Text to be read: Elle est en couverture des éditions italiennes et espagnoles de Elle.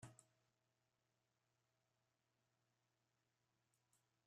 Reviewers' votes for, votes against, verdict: 0, 2, rejected